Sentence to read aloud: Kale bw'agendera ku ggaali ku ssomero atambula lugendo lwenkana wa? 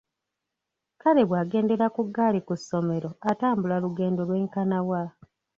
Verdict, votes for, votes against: rejected, 1, 2